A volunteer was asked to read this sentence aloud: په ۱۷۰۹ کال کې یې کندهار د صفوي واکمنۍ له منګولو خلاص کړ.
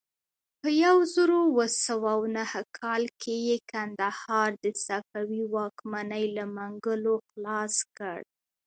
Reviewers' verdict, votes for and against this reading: rejected, 0, 2